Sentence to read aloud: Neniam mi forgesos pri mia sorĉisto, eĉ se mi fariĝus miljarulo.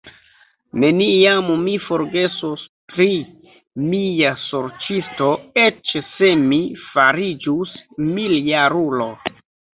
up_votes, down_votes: 0, 2